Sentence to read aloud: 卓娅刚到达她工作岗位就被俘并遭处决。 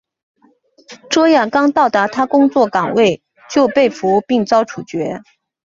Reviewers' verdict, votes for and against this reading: accepted, 4, 0